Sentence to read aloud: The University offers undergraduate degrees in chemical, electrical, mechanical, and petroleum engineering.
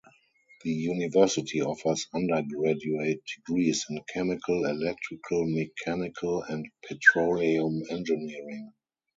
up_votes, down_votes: 0, 2